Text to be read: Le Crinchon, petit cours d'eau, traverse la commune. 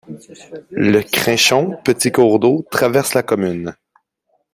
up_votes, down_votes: 1, 2